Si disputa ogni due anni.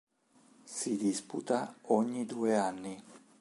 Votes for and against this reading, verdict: 3, 0, accepted